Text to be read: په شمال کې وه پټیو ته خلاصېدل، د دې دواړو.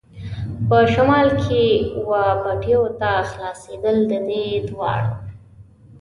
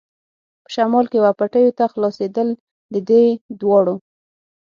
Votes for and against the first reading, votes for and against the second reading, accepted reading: 2, 0, 3, 6, first